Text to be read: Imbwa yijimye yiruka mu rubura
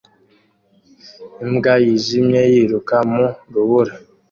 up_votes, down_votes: 2, 0